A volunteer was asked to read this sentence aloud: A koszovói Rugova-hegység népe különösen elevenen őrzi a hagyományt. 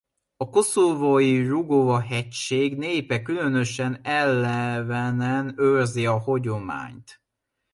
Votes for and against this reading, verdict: 1, 2, rejected